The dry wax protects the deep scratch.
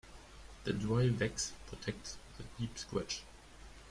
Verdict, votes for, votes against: accepted, 2, 1